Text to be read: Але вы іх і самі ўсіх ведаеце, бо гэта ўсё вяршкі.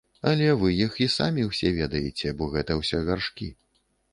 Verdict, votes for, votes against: rejected, 0, 2